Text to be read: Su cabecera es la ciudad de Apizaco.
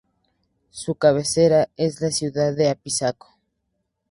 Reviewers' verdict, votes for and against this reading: accepted, 2, 0